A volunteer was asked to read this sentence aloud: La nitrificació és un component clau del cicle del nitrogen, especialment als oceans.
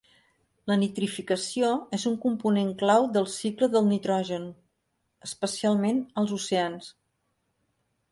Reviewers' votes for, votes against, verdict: 3, 0, accepted